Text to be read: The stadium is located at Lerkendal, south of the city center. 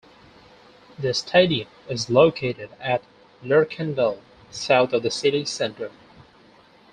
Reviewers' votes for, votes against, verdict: 4, 0, accepted